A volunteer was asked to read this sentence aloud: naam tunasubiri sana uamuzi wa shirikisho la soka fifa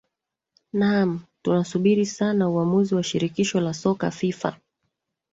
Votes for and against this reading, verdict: 0, 2, rejected